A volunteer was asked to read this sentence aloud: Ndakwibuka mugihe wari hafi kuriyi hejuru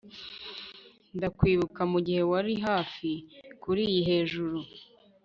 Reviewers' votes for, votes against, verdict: 1, 2, rejected